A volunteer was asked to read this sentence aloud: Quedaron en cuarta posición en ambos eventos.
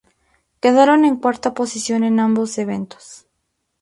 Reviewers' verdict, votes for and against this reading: accepted, 2, 0